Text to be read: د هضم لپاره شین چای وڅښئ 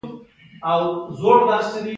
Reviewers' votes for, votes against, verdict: 2, 0, accepted